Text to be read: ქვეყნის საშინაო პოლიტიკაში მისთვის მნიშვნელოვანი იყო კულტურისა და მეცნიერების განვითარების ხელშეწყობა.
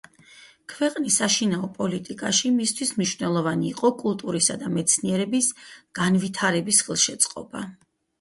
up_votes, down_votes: 6, 2